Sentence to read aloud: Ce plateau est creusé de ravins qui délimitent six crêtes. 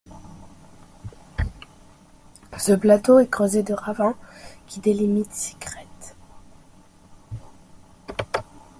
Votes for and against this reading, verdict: 1, 2, rejected